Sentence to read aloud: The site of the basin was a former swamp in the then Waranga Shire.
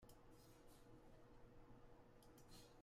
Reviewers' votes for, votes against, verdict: 0, 2, rejected